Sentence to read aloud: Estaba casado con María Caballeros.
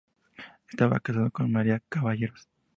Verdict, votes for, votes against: accepted, 6, 2